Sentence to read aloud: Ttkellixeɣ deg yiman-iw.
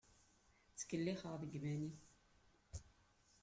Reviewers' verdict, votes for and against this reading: rejected, 0, 2